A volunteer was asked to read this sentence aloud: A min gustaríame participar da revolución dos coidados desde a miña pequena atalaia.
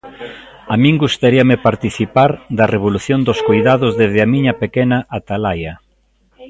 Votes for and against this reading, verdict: 2, 0, accepted